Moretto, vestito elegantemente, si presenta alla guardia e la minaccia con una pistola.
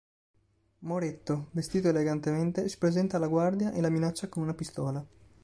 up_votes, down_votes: 3, 0